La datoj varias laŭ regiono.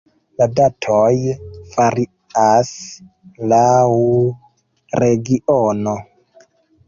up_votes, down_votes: 2, 0